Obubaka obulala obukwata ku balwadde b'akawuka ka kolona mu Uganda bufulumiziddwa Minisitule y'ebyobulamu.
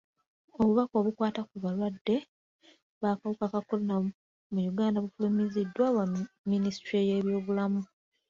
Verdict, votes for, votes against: rejected, 1, 2